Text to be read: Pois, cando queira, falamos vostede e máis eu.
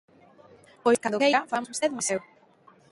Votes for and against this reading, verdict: 0, 2, rejected